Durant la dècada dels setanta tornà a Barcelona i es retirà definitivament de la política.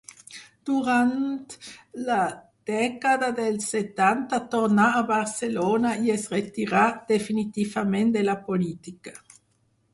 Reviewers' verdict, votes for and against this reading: accepted, 4, 0